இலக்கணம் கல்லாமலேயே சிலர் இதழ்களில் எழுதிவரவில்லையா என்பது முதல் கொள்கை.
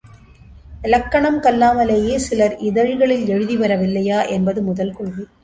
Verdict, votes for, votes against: accepted, 2, 0